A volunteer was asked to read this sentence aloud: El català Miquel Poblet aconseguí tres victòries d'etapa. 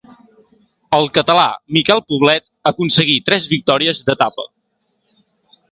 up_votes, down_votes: 2, 0